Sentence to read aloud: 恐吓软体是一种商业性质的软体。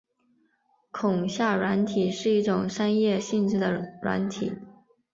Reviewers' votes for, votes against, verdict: 5, 0, accepted